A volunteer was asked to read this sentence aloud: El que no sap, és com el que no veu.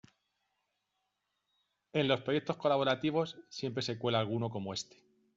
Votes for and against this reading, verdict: 0, 2, rejected